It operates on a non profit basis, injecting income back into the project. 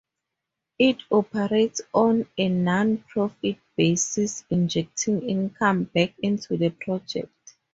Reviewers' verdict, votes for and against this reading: accepted, 2, 0